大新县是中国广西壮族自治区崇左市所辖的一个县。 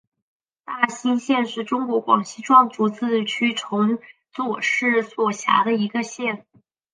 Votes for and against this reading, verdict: 1, 2, rejected